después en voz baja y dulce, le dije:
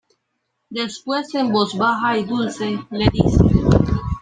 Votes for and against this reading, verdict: 1, 2, rejected